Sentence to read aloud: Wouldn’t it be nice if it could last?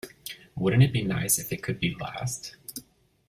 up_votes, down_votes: 0, 2